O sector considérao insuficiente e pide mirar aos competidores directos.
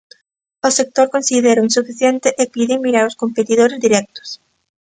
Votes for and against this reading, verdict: 2, 0, accepted